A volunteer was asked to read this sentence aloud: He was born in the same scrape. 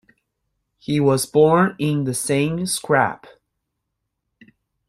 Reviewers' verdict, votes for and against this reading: rejected, 0, 2